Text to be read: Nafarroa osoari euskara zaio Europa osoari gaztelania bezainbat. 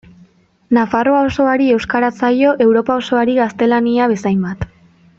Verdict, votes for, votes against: accepted, 2, 0